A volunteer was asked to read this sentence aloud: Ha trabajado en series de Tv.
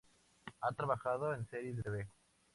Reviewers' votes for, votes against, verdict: 0, 2, rejected